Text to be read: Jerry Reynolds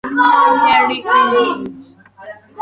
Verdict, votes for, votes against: rejected, 0, 2